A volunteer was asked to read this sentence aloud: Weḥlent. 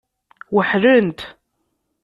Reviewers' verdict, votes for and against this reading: accepted, 2, 0